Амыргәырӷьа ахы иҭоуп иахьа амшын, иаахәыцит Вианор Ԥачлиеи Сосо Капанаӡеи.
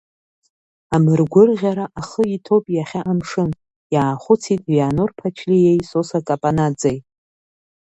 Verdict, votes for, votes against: accepted, 2, 0